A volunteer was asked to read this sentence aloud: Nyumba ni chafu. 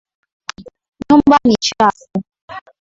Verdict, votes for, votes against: accepted, 7, 5